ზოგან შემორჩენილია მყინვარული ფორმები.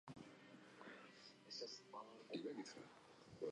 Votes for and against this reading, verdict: 1, 2, rejected